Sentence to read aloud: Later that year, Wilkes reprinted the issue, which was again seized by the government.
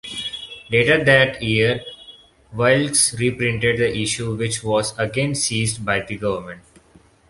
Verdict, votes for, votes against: accepted, 2, 0